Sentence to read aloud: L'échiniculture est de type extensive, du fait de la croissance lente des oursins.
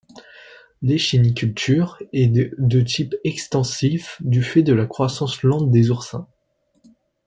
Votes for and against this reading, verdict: 2, 0, accepted